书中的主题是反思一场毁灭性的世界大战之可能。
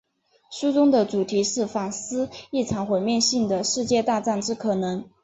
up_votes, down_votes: 4, 1